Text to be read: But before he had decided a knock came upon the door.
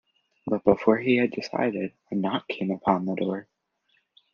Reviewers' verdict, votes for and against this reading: accepted, 2, 0